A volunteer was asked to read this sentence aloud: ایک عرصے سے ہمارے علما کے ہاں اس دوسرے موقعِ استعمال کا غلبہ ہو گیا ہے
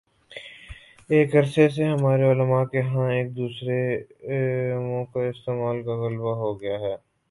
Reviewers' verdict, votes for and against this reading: rejected, 0, 2